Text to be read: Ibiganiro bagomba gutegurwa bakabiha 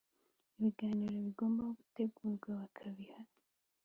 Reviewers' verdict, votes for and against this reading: accepted, 2, 0